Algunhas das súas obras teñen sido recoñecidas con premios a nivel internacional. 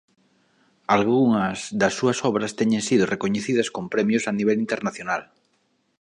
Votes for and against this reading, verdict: 2, 0, accepted